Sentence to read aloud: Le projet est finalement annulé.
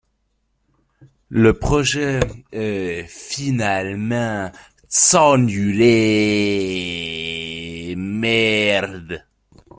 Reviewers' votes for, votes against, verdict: 0, 2, rejected